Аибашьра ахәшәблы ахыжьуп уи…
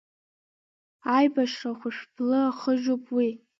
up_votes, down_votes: 2, 1